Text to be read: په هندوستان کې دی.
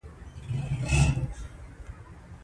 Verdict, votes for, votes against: rejected, 0, 2